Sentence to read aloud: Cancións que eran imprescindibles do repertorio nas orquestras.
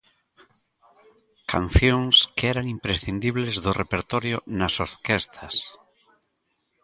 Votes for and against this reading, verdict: 0, 2, rejected